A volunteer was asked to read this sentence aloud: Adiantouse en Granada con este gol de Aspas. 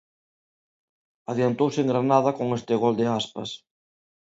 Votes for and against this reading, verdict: 2, 0, accepted